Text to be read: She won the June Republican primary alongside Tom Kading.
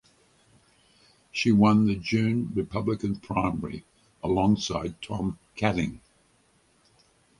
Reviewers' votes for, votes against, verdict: 4, 0, accepted